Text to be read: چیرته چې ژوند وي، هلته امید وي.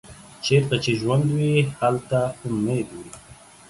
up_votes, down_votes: 2, 1